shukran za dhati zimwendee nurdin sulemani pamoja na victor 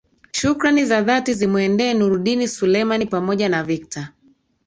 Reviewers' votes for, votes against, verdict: 1, 2, rejected